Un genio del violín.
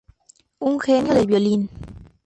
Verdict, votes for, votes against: rejected, 0, 2